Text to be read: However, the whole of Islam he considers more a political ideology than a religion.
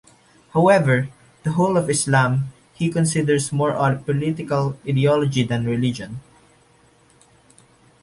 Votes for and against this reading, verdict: 1, 2, rejected